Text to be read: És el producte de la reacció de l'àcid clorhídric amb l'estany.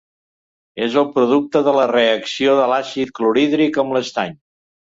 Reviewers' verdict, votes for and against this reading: accepted, 3, 0